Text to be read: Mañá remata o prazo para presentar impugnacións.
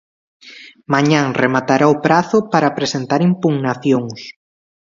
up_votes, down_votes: 0, 2